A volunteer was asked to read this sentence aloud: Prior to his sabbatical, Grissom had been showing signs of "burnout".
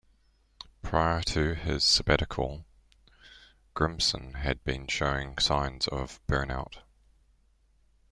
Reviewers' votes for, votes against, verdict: 2, 1, accepted